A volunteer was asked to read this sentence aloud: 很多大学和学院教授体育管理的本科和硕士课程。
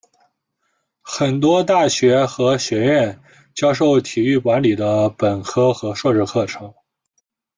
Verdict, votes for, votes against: rejected, 0, 2